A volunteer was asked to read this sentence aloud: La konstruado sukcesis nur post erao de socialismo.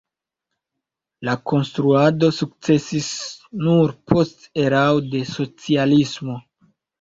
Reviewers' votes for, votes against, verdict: 2, 0, accepted